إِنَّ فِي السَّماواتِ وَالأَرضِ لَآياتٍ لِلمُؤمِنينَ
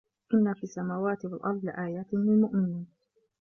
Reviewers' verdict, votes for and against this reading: rejected, 1, 2